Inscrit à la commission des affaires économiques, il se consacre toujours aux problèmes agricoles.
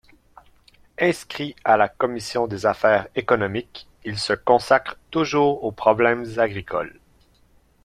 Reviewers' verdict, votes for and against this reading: accepted, 2, 1